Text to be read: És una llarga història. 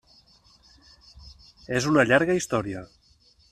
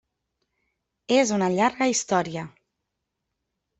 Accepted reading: first